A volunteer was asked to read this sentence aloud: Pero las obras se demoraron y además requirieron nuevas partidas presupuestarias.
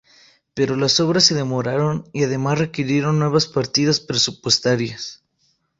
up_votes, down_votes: 4, 0